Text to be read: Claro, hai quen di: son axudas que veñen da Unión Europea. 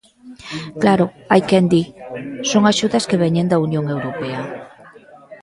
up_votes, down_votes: 2, 0